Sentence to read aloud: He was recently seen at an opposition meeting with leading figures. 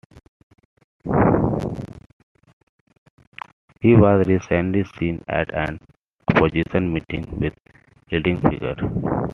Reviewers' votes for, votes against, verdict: 1, 2, rejected